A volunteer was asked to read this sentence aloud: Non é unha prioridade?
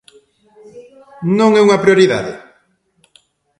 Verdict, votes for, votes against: accepted, 2, 0